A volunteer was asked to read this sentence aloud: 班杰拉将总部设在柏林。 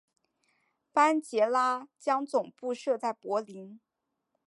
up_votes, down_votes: 2, 0